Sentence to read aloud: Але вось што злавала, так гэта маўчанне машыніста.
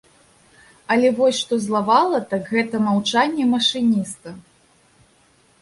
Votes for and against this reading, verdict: 4, 0, accepted